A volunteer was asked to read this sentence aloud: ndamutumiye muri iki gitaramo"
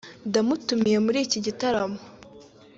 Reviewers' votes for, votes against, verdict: 3, 0, accepted